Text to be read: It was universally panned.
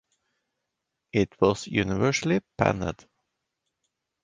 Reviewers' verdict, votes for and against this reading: rejected, 1, 2